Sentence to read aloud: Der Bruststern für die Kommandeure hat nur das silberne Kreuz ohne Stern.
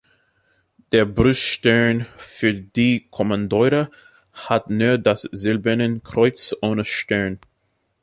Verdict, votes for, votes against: rejected, 0, 2